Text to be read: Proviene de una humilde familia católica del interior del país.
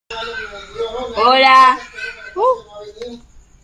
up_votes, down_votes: 0, 2